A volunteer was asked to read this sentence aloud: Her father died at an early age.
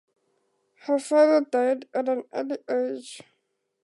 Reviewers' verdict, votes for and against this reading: accepted, 2, 0